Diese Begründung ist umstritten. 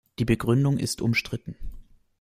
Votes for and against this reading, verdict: 1, 2, rejected